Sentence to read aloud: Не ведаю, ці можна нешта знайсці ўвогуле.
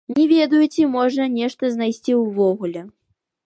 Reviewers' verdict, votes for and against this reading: accepted, 2, 1